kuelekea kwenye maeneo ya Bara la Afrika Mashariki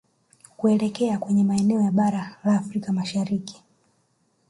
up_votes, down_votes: 2, 0